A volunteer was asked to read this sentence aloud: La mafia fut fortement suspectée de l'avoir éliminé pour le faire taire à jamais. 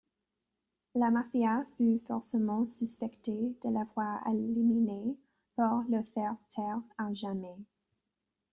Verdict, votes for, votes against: rejected, 0, 2